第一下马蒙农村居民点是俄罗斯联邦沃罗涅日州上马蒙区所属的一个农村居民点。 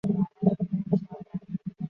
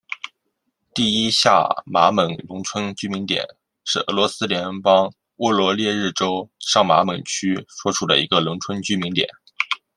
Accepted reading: second